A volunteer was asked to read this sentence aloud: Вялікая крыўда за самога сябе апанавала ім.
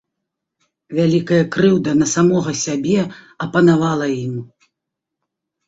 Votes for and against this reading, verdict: 0, 2, rejected